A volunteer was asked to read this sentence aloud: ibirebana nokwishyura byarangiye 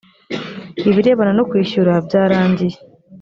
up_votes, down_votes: 3, 0